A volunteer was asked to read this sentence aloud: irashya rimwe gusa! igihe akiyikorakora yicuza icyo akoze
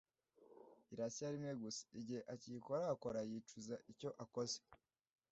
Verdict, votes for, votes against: accepted, 2, 0